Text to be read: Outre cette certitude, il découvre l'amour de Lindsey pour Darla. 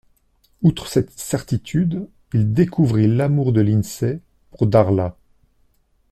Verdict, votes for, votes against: rejected, 0, 2